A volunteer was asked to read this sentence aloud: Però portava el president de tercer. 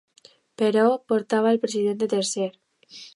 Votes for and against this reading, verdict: 2, 0, accepted